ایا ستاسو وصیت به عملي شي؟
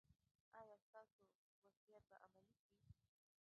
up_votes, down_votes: 2, 3